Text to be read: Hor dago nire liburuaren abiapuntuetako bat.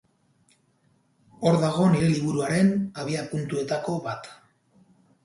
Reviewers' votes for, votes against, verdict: 2, 0, accepted